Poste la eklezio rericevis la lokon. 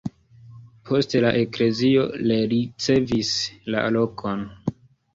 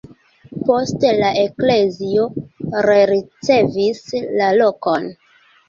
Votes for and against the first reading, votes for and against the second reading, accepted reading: 0, 2, 2, 1, second